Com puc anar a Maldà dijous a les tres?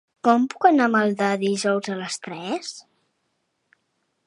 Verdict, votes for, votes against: accepted, 4, 0